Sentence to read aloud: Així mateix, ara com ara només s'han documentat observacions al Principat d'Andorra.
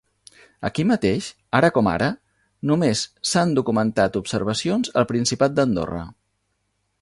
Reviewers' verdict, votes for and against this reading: rejected, 0, 2